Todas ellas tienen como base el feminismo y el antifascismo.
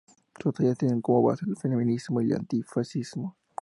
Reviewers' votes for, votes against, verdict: 0, 2, rejected